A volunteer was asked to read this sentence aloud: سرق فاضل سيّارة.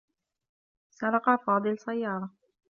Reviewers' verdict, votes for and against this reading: accepted, 2, 0